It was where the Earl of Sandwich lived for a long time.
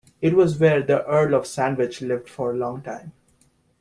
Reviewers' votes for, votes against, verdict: 2, 1, accepted